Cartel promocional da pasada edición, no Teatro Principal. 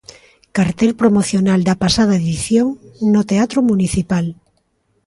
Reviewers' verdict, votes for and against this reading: rejected, 0, 2